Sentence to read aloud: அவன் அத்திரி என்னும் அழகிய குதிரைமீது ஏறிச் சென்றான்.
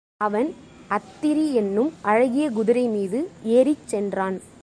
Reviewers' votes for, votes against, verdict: 3, 0, accepted